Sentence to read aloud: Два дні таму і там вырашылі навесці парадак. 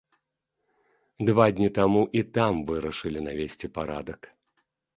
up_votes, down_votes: 2, 0